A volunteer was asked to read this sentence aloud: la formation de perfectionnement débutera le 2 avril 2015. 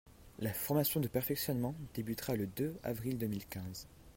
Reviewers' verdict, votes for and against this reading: rejected, 0, 2